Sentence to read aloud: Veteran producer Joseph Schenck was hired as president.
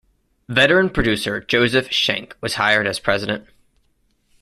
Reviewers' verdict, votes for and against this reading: accepted, 2, 0